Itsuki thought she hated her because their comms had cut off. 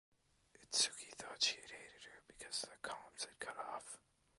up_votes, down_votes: 2, 1